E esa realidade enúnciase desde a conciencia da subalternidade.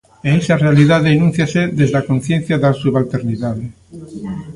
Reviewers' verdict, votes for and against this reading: rejected, 1, 2